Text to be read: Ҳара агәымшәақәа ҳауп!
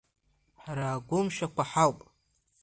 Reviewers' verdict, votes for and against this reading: accepted, 2, 0